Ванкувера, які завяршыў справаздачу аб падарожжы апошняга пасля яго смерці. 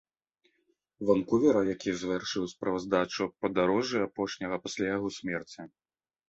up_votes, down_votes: 2, 0